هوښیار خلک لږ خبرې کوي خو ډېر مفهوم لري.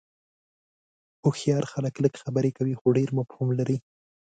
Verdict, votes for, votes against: accepted, 2, 0